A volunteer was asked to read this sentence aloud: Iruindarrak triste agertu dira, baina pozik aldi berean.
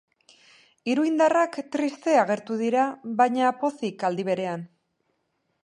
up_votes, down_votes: 2, 0